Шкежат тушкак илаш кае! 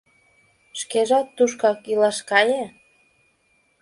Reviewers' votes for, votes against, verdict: 2, 0, accepted